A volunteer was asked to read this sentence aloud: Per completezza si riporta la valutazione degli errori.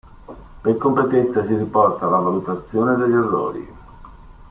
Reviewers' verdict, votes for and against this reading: accepted, 2, 0